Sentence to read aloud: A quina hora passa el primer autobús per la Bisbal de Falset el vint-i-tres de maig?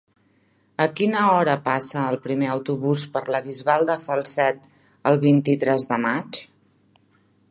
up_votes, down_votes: 3, 0